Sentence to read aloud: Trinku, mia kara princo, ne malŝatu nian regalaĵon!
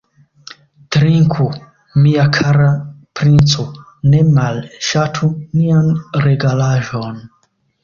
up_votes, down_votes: 2, 0